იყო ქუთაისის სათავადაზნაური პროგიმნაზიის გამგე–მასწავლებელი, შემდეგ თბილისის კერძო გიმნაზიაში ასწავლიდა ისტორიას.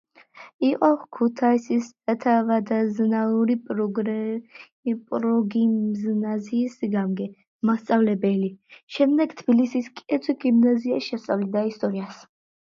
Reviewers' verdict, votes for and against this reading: rejected, 0, 2